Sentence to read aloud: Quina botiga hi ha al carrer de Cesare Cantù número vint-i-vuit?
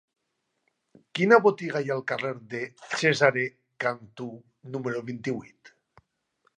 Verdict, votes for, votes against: accepted, 3, 1